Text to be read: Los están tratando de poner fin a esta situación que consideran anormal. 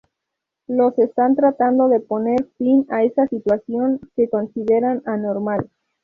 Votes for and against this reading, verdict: 2, 2, rejected